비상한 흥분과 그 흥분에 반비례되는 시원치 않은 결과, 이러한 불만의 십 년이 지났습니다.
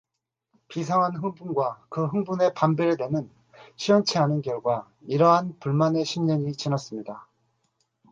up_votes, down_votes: 4, 0